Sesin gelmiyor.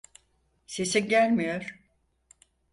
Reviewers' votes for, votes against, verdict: 4, 0, accepted